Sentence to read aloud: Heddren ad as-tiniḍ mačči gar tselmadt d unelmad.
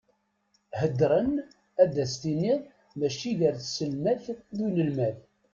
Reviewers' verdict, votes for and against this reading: accepted, 2, 0